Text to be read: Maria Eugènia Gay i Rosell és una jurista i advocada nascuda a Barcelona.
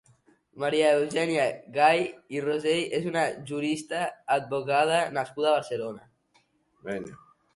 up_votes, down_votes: 1, 2